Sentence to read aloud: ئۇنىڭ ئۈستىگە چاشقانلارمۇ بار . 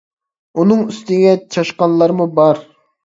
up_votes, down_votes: 2, 0